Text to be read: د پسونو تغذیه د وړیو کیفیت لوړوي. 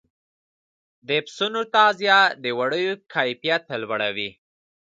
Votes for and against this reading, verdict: 2, 0, accepted